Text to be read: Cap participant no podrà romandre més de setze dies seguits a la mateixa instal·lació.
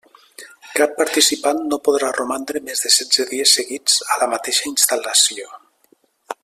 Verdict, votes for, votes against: accepted, 3, 0